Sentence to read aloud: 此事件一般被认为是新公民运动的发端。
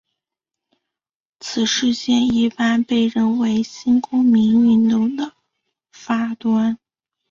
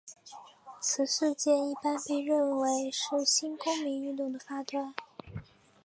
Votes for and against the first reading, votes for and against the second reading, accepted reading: 2, 2, 3, 1, second